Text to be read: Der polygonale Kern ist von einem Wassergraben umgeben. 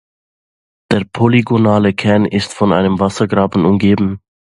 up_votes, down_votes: 2, 0